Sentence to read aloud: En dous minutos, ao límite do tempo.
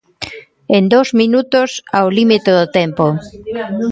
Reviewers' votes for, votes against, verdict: 3, 1, accepted